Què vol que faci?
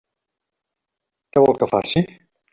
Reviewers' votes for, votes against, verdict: 3, 0, accepted